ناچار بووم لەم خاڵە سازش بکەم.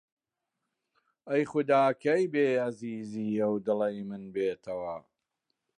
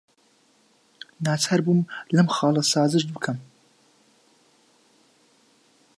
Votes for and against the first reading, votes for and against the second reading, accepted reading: 0, 2, 2, 1, second